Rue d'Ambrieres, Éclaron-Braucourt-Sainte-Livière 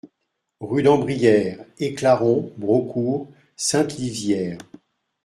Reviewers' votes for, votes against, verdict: 2, 0, accepted